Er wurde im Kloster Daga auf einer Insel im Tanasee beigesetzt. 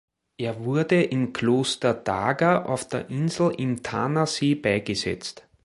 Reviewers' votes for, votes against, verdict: 1, 2, rejected